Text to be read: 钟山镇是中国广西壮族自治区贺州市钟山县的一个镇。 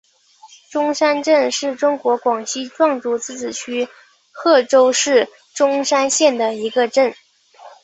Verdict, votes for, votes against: accepted, 4, 0